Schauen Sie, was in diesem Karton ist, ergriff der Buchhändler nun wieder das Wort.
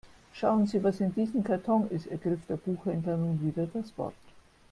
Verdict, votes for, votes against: rejected, 1, 2